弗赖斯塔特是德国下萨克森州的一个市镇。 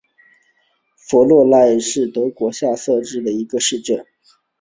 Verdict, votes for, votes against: accepted, 2, 0